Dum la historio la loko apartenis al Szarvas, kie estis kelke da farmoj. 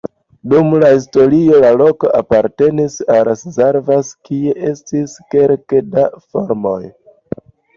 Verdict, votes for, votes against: accepted, 2, 0